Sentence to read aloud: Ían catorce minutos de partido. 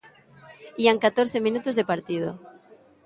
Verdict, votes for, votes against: rejected, 1, 2